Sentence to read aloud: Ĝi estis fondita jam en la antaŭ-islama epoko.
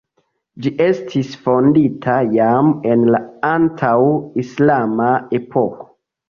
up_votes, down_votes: 2, 1